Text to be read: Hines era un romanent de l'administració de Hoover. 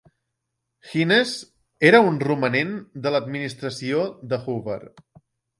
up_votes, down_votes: 3, 1